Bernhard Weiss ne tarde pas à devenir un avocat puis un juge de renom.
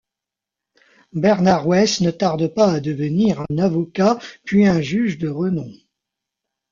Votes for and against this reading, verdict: 1, 2, rejected